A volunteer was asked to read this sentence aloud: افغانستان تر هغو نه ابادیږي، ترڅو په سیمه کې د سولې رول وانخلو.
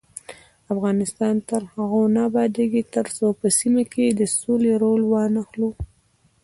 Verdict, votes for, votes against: rejected, 0, 2